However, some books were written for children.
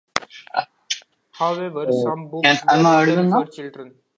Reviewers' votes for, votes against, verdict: 0, 2, rejected